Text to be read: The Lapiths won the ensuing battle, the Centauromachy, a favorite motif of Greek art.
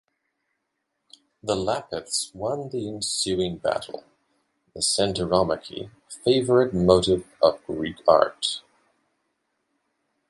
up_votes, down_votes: 0, 2